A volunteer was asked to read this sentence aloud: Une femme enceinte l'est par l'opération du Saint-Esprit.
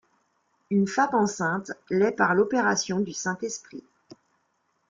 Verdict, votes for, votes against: rejected, 1, 2